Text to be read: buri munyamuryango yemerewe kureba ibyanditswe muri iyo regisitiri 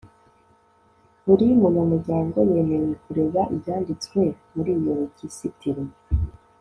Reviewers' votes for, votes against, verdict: 2, 0, accepted